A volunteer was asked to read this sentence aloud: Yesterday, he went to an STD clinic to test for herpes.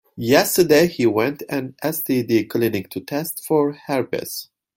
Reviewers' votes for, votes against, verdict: 1, 2, rejected